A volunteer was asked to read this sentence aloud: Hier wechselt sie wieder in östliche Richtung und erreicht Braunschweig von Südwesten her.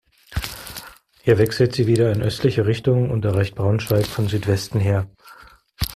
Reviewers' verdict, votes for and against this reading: accepted, 2, 0